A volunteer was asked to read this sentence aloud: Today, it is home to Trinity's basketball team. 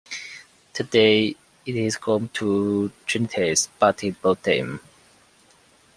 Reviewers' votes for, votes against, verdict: 1, 2, rejected